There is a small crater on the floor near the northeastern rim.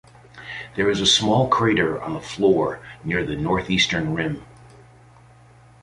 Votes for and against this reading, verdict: 2, 0, accepted